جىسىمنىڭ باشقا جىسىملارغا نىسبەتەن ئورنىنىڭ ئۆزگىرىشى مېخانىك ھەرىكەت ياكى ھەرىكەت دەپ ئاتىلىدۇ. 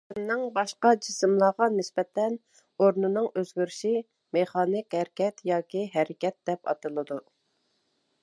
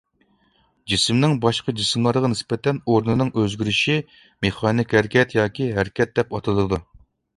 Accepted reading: second